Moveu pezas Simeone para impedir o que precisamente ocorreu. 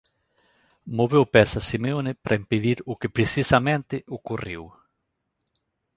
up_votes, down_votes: 2, 1